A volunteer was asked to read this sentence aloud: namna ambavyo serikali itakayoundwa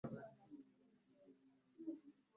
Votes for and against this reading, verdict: 0, 2, rejected